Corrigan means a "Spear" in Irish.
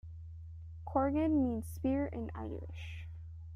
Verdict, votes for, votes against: rejected, 0, 2